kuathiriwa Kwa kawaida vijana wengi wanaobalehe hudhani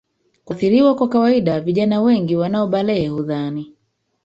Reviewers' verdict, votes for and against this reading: rejected, 1, 2